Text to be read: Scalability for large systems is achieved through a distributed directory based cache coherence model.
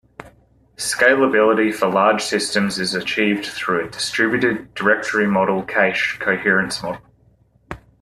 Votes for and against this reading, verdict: 1, 2, rejected